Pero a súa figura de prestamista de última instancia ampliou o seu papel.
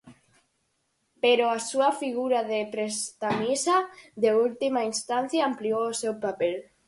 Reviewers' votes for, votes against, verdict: 0, 4, rejected